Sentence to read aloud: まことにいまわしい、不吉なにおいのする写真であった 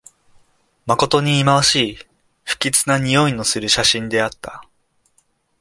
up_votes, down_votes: 2, 0